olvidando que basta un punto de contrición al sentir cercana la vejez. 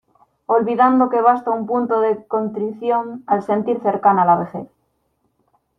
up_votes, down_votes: 2, 0